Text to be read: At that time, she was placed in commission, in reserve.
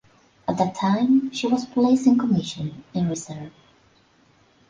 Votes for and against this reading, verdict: 2, 1, accepted